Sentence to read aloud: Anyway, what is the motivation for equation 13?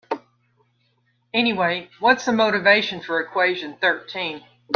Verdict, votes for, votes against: rejected, 0, 2